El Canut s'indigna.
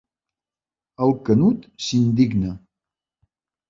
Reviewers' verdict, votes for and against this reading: accepted, 2, 0